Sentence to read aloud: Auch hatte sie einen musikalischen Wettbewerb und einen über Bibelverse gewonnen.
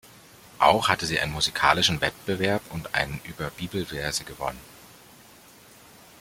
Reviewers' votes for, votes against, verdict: 0, 2, rejected